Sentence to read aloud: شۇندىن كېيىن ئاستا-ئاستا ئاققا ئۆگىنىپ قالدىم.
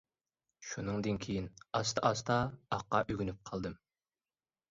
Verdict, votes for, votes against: rejected, 1, 2